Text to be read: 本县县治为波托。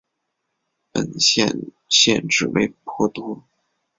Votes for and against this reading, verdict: 3, 1, accepted